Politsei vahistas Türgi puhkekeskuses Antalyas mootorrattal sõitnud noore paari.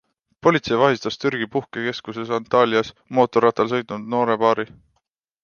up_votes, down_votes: 2, 0